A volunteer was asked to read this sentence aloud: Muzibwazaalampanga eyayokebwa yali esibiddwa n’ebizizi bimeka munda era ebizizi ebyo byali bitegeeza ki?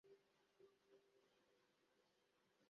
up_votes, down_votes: 0, 2